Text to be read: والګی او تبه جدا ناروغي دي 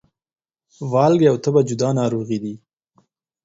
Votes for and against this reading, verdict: 4, 0, accepted